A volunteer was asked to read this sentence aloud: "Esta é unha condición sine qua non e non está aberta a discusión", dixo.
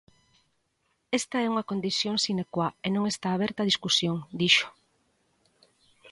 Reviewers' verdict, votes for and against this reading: rejected, 1, 2